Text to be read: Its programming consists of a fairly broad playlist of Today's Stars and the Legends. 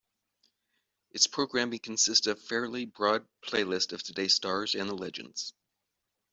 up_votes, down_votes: 1, 2